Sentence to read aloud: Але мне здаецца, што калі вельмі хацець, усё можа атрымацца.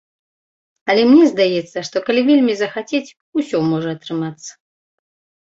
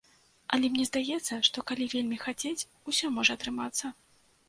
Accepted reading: second